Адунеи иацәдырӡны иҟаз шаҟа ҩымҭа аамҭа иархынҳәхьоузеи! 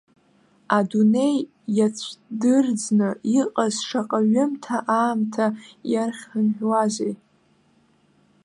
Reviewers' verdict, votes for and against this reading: rejected, 0, 2